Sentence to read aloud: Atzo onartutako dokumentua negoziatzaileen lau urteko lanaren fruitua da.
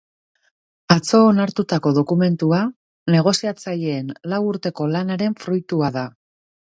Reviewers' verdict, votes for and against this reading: accepted, 2, 0